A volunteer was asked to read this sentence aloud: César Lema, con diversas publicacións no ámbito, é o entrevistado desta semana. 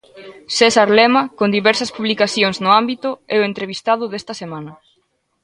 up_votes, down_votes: 0, 2